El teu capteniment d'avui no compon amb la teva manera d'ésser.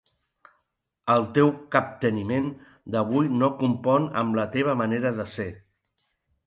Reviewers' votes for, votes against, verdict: 0, 2, rejected